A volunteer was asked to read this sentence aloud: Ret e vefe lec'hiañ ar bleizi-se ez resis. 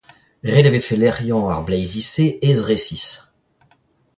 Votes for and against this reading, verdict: 2, 1, accepted